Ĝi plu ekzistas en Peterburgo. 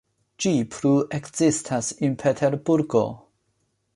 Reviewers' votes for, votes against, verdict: 0, 2, rejected